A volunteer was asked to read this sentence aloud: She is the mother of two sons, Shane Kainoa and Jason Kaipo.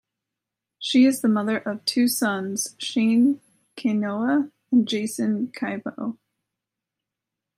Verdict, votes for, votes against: accepted, 2, 0